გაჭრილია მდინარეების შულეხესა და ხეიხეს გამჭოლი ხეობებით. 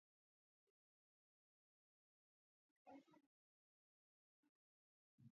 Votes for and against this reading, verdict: 0, 2, rejected